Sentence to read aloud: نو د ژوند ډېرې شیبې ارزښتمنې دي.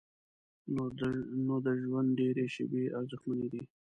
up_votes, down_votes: 1, 2